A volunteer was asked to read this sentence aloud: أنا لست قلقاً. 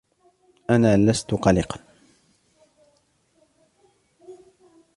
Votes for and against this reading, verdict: 2, 0, accepted